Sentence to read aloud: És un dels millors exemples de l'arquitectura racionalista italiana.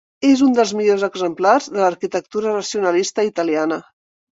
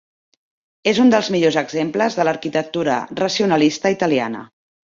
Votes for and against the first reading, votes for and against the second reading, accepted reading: 1, 2, 3, 0, second